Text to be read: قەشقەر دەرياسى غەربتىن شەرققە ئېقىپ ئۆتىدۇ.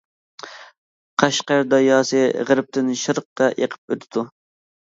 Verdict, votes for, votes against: rejected, 1, 2